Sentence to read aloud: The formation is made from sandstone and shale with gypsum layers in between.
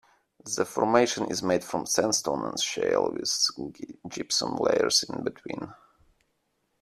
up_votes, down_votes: 3, 2